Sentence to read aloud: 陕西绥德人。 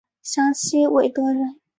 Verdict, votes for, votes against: rejected, 1, 5